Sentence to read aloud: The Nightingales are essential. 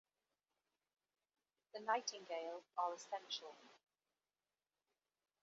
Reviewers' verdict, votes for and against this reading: rejected, 1, 2